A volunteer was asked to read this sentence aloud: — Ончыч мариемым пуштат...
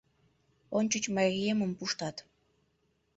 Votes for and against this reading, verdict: 0, 2, rejected